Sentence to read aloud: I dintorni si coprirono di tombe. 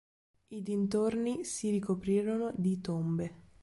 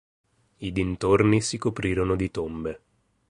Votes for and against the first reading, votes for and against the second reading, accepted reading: 0, 2, 2, 0, second